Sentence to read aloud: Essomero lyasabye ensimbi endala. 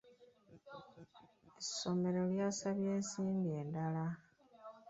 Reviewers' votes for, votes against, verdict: 1, 2, rejected